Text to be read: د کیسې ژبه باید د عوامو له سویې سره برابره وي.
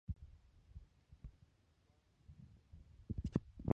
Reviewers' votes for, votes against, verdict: 0, 2, rejected